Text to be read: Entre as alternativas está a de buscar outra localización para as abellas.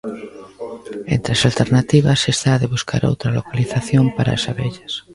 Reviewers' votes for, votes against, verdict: 1, 2, rejected